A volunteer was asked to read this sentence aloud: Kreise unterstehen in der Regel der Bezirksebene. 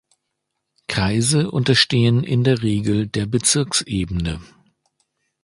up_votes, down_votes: 2, 0